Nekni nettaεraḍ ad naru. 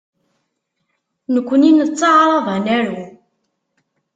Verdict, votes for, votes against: accepted, 2, 0